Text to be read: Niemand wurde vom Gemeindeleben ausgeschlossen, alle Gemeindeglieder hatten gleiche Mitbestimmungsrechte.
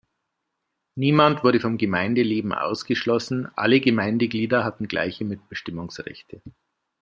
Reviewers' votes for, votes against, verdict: 2, 0, accepted